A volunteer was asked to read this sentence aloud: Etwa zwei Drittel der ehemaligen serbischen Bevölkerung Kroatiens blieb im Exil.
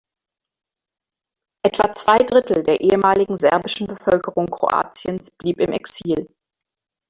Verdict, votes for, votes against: rejected, 2, 3